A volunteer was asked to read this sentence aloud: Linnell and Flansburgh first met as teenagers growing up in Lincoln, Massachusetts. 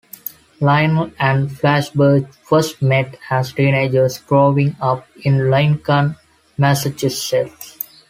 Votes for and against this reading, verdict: 1, 2, rejected